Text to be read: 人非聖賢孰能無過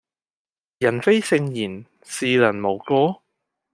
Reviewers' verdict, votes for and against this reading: accepted, 2, 0